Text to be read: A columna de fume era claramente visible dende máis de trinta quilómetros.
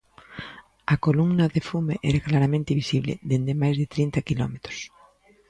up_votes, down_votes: 2, 0